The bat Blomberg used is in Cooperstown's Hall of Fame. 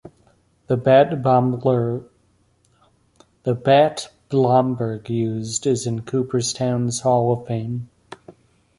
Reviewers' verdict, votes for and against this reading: rejected, 0, 2